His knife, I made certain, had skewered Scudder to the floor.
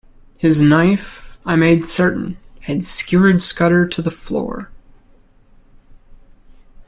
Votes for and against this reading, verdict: 2, 0, accepted